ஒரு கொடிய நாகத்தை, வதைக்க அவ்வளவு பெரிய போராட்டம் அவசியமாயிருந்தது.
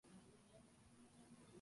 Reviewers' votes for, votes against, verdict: 0, 2, rejected